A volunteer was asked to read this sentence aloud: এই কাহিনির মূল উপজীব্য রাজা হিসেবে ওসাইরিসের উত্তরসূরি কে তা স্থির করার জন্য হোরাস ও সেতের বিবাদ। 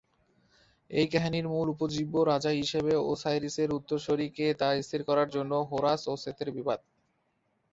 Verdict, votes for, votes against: accepted, 2, 0